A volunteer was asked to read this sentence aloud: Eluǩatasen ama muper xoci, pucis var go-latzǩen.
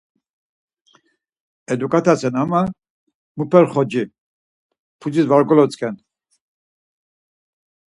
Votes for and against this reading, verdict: 4, 0, accepted